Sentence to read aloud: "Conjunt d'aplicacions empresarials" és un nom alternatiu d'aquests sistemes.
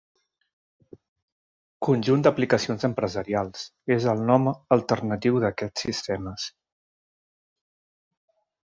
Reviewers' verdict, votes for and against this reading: rejected, 1, 2